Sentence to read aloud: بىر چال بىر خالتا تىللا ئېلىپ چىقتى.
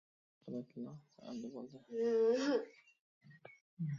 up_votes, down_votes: 0, 2